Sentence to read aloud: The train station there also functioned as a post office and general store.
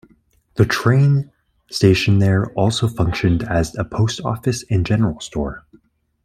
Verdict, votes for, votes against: accepted, 2, 0